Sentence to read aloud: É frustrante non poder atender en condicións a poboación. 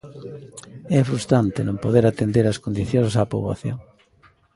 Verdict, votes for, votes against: rejected, 0, 2